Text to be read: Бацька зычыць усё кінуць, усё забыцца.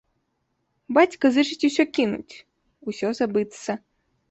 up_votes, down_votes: 2, 0